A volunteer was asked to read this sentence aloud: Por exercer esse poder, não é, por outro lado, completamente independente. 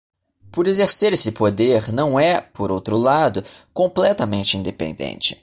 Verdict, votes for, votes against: accepted, 2, 0